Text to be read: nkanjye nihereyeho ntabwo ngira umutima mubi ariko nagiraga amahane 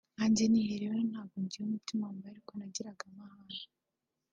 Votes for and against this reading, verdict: 3, 0, accepted